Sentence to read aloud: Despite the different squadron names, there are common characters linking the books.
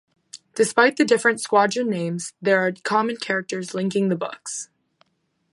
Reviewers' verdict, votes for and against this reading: accepted, 2, 0